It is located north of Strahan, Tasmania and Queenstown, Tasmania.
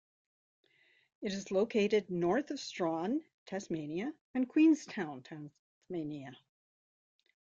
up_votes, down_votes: 2, 0